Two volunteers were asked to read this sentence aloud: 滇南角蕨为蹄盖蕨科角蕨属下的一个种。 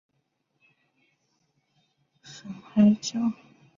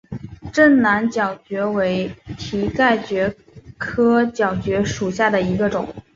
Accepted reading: second